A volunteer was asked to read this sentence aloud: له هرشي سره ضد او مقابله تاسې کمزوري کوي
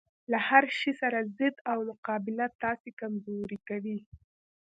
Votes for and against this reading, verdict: 1, 2, rejected